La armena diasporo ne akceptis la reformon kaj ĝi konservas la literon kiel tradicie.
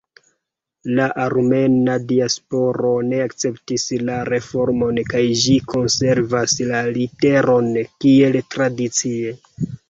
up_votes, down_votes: 2, 0